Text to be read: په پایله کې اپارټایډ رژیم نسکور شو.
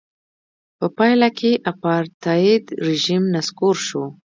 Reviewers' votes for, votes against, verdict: 1, 2, rejected